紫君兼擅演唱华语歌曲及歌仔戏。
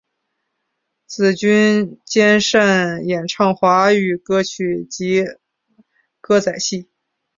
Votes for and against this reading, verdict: 1, 2, rejected